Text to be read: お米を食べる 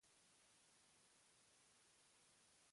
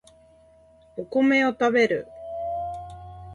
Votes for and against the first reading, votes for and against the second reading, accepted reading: 0, 2, 2, 0, second